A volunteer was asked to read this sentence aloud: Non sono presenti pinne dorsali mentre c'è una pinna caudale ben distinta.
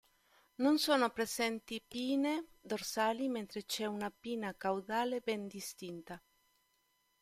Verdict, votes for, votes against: rejected, 1, 2